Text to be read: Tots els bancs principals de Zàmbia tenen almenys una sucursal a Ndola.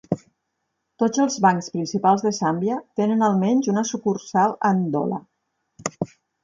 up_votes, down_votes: 4, 2